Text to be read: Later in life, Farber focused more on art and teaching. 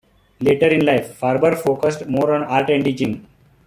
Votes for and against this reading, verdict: 2, 0, accepted